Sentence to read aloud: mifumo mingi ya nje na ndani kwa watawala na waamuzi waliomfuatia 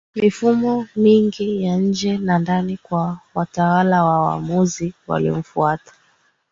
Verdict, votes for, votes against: rejected, 0, 3